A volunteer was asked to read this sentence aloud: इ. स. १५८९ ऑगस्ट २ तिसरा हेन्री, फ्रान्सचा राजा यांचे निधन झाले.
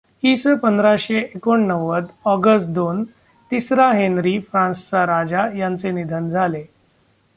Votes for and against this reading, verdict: 0, 2, rejected